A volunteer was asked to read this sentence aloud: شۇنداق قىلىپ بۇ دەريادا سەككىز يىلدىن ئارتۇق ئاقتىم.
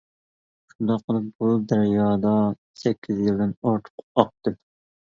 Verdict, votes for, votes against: rejected, 1, 2